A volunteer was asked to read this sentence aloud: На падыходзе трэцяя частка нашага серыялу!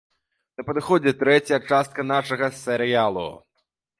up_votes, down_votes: 1, 2